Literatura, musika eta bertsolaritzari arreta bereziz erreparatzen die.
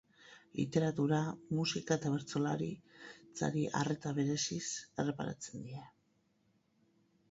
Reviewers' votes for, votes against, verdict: 0, 4, rejected